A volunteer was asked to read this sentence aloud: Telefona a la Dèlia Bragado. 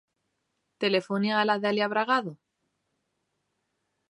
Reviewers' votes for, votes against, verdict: 1, 2, rejected